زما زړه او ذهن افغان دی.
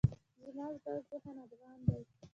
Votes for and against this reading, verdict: 0, 2, rejected